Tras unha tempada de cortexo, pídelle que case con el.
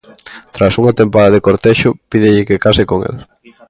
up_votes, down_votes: 2, 0